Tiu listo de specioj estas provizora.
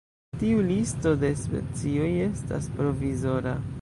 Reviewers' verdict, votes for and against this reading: rejected, 1, 2